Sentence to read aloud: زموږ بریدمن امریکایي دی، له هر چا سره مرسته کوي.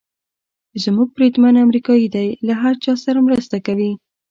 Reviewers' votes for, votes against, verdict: 2, 0, accepted